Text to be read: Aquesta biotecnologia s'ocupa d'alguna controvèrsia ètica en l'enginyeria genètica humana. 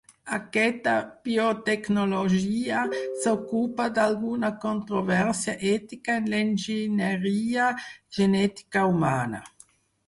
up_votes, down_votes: 2, 4